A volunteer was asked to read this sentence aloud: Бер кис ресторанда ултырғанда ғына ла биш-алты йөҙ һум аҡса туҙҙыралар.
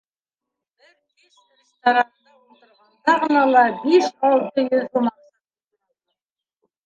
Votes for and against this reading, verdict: 0, 2, rejected